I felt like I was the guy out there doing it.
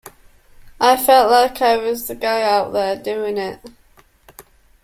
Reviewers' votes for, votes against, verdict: 2, 1, accepted